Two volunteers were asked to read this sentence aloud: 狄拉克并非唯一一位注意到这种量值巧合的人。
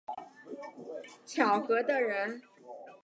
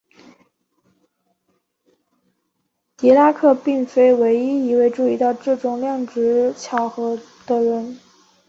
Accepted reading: second